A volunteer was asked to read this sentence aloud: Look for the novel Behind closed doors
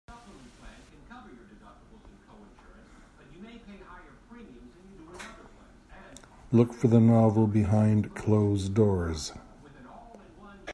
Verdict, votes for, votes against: rejected, 1, 2